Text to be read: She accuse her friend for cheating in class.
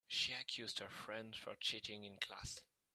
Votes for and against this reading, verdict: 2, 1, accepted